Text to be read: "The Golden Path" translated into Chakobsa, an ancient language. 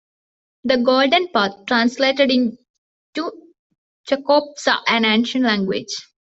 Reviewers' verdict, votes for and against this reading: rejected, 1, 2